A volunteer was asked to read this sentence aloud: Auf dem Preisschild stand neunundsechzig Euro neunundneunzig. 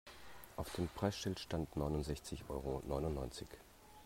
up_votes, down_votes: 2, 0